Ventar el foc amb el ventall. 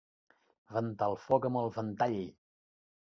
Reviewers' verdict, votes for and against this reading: accepted, 3, 0